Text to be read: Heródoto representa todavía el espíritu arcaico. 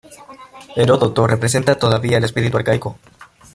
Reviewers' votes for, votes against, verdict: 1, 2, rejected